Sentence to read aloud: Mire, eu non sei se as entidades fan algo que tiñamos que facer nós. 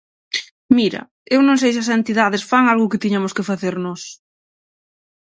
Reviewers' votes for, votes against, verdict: 0, 6, rejected